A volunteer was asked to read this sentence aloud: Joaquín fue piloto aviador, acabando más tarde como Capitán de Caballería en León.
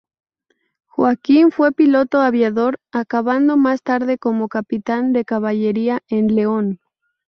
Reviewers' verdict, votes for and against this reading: accepted, 4, 0